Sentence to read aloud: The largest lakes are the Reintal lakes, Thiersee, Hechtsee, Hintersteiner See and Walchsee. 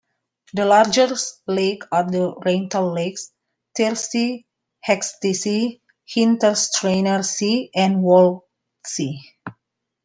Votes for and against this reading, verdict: 2, 0, accepted